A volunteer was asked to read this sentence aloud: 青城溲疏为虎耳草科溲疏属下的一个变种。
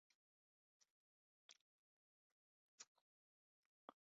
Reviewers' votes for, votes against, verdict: 0, 4, rejected